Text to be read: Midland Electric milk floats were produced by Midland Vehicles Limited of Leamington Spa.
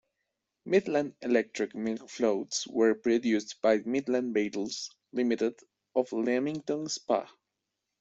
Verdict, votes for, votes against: accepted, 2, 0